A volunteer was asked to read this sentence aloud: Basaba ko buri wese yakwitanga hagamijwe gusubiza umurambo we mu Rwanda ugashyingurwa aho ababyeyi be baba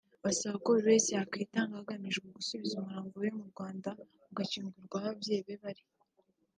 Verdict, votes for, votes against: accepted, 2, 1